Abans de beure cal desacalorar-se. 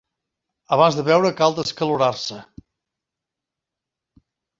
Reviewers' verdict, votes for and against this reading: rejected, 0, 2